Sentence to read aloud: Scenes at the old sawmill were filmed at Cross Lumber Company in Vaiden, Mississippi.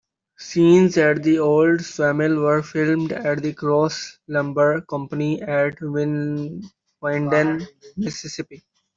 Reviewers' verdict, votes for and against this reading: rejected, 0, 2